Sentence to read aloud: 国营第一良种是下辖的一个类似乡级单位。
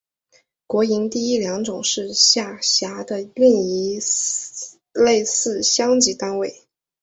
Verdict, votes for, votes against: accepted, 4, 0